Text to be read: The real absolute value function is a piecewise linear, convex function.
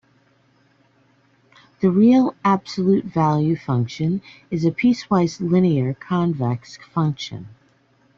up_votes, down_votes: 2, 0